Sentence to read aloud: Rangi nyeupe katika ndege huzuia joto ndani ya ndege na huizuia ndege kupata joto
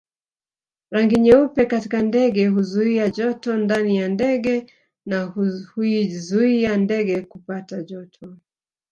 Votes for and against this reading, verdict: 1, 3, rejected